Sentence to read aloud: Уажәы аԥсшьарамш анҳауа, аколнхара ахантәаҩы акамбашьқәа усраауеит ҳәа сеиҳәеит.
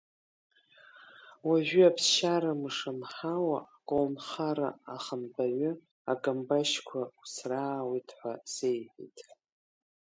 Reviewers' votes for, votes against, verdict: 2, 0, accepted